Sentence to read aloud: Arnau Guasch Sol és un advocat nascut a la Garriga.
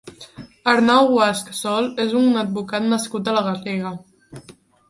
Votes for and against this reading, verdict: 3, 0, accepted